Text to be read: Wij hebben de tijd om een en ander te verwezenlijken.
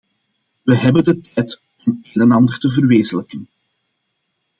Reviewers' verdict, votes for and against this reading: accepted, 2, 1